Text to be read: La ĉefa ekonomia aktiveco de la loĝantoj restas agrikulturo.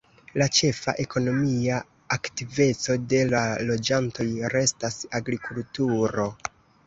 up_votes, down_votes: 2, 1